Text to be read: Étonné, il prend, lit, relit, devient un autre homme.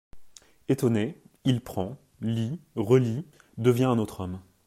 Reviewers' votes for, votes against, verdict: 2, 0, accepted